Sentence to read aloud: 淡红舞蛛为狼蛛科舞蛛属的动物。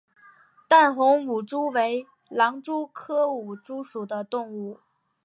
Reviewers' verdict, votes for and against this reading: accepted, 3, 0